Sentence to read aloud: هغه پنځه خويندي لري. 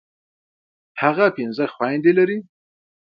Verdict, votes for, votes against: accepted, 2, 0